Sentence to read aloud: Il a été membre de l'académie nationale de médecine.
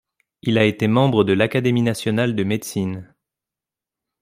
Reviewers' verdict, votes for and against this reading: accepted, 2, 0